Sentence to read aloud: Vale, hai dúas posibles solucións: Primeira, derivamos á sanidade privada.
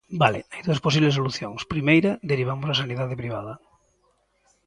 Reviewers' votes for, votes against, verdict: 2, 0, accepted